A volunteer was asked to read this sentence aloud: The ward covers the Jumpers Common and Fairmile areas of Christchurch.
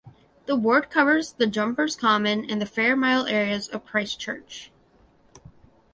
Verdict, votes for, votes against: rejected, 1, 2